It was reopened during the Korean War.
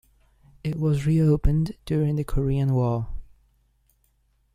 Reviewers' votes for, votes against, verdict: 2, 0, accepted